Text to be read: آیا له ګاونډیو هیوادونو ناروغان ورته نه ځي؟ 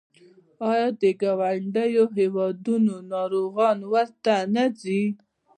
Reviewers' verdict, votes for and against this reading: rejected, 0, 2